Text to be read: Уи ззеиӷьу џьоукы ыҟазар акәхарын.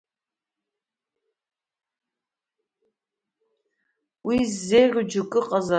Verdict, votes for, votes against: rejected, 0, 2